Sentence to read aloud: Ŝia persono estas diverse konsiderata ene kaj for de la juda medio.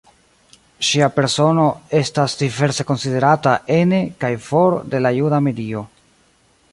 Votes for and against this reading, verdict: 2, 0, accepted